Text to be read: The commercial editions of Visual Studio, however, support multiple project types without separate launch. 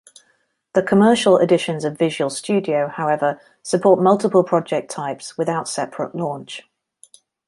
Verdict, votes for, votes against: accepted, 2, 0